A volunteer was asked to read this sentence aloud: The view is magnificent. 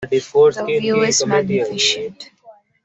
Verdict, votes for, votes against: rejected, 1, 2